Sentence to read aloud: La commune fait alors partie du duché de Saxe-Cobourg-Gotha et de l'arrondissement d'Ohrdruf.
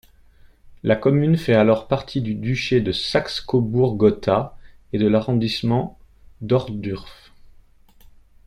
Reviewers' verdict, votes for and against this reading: rejected, 1, 2